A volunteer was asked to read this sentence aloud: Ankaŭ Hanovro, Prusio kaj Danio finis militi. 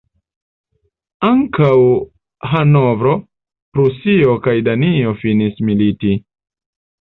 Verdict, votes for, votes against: accepted, 2, 0